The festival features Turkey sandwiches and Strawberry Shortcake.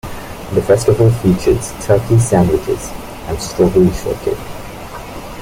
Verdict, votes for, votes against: accepted, 2, 0